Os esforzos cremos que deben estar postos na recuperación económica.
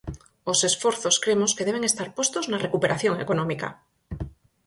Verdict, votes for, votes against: accepted, 4, 0